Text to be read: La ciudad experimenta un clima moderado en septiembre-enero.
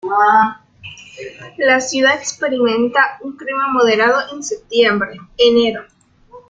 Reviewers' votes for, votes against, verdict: 2, 0, accepted